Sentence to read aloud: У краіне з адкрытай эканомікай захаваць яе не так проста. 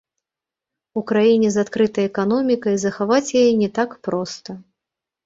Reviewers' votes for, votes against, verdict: 2, 3, rejected